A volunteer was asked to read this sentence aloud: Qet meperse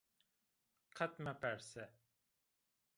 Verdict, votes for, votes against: accepted, 2, 0